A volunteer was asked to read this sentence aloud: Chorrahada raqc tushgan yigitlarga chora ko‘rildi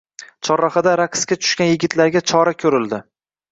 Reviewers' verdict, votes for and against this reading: accepted, 2, 0